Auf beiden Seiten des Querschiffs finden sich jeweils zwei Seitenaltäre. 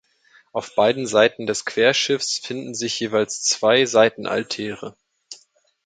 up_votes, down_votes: 2, 0